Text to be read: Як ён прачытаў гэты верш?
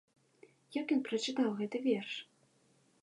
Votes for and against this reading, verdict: 2, 0, accepted